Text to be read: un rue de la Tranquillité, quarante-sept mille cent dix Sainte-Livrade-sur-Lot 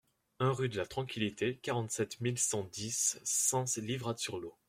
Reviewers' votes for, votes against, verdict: 1, 2, rejected